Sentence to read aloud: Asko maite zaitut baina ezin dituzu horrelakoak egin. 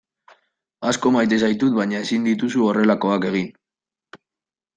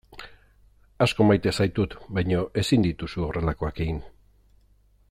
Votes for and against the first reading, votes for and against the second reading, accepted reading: 2, 0, 1, 2, first